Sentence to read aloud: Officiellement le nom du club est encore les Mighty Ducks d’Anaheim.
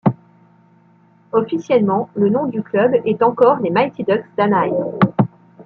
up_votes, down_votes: 0, 2